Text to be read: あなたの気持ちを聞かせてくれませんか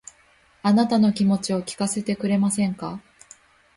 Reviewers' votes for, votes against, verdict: 2, 0, accepted